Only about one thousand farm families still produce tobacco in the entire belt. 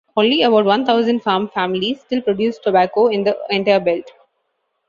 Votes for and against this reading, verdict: 2, 0, accepted